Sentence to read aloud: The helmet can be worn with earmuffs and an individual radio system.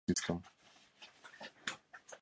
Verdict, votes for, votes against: rejected, 0, 2